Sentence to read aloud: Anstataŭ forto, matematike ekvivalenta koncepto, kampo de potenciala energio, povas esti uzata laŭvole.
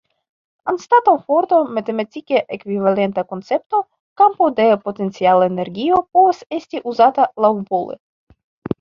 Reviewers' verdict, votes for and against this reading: rejected, 1, 2